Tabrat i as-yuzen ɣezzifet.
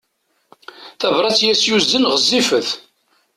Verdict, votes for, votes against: accepted, 2, 0